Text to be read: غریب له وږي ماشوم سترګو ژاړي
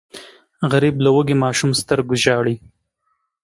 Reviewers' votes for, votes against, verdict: 3, 0, accepted